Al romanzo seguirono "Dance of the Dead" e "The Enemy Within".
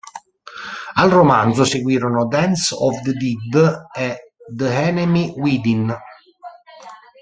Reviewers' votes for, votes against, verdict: 0, 2, rejected